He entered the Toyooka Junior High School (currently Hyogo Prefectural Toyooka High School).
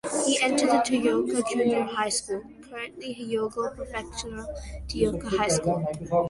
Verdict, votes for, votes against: accepted, 2, 1